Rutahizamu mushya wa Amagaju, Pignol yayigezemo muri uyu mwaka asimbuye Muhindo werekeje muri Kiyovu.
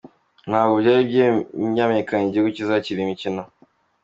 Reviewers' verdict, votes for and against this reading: rejected, 0, 2